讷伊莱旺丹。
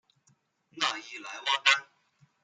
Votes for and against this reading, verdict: 2, 0, accepted